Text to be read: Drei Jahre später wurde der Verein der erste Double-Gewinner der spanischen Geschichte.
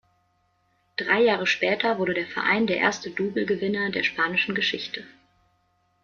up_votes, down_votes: 0, 2